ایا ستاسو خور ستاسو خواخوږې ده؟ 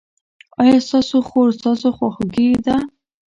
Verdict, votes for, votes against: rejected, 1, 2